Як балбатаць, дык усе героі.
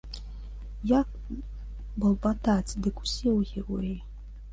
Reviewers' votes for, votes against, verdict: 3, 2, accepted